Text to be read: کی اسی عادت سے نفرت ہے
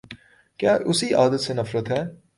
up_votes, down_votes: 1, 2